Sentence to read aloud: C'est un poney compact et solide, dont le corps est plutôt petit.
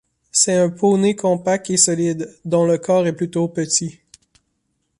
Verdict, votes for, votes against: accepted, 3, 0